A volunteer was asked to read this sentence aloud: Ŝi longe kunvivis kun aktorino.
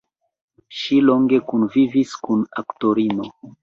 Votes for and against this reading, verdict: 2, 0, accepted